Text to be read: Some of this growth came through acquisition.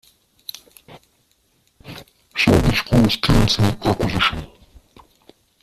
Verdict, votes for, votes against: rejected, 0, 2